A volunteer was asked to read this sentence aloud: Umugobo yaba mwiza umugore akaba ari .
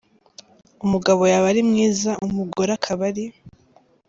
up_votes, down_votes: 0, 2